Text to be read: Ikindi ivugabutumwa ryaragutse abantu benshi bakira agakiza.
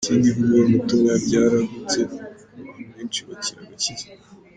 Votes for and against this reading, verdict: 1, 2, rejected